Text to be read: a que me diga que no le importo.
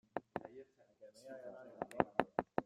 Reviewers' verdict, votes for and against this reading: rejected, 0, 2